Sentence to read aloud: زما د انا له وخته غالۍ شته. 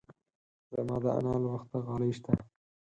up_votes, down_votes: 2, 4